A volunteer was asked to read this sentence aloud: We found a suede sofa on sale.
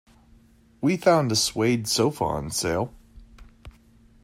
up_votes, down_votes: 2, 0